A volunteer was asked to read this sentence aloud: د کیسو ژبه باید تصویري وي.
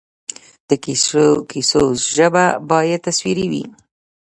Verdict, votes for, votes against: rejected, 0, 2